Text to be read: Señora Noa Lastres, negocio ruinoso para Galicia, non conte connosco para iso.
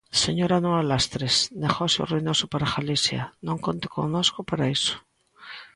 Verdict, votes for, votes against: accepted, 3, 0